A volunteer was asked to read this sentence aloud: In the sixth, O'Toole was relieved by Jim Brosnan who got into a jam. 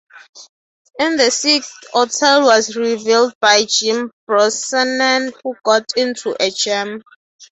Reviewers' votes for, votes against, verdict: 0, 3, rejected